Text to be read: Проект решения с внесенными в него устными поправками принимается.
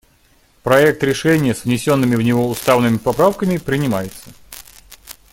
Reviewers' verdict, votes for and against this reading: rejected, 0, 2